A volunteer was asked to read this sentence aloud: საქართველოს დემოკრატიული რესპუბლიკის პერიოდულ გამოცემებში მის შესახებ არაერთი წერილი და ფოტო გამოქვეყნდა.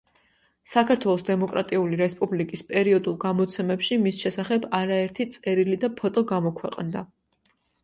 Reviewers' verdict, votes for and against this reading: accepted, 2, 0